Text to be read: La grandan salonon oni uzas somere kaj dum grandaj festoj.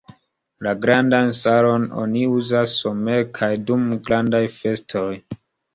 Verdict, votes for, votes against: accepted, 2, 0